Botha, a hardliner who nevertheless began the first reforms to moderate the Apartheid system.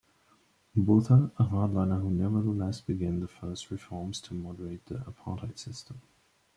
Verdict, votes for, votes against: rejected, 0, 2